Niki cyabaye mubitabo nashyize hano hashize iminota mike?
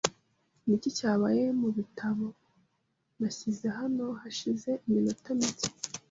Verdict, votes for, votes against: accepted, 2, 0